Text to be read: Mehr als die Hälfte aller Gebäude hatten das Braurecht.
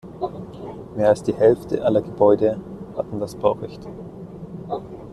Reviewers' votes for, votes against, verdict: 0, 2, rejected